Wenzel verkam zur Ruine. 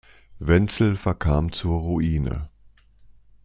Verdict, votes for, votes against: accepted, 2, 0